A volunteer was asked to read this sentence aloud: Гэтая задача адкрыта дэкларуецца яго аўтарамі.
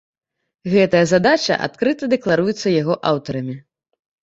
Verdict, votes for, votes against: accepted, 2, 0